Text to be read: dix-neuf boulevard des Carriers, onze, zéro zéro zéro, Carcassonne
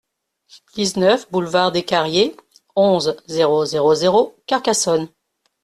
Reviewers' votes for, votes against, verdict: 2, 0, accepted